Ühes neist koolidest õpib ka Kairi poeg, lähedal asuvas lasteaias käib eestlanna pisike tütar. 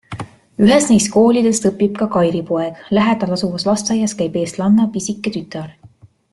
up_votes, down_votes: 2, 0